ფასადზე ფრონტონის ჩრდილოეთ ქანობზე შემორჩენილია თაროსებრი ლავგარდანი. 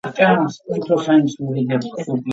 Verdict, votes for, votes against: rejected, 0, 2